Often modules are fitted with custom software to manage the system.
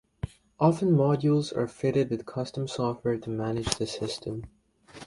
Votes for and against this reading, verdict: 2, 0, accepted